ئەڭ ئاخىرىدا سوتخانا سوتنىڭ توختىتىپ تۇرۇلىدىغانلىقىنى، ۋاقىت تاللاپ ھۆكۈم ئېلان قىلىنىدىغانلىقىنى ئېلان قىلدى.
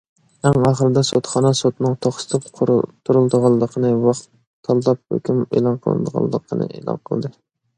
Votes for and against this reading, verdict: 0, 2, rejected